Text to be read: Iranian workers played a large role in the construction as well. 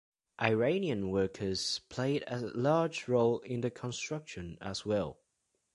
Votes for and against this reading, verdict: 2, 0, accepted